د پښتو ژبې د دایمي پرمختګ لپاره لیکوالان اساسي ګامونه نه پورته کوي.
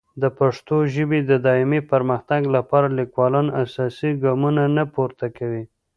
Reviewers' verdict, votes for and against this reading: accepted, 2, 1